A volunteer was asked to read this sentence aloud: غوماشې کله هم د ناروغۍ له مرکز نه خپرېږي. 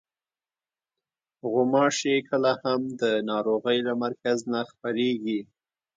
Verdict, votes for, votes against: rejected, 1, 2